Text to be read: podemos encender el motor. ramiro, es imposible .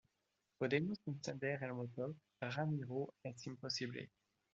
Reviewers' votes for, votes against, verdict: 2, 0, accepted